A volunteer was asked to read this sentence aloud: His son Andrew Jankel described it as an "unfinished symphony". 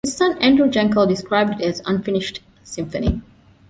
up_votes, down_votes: 0, 2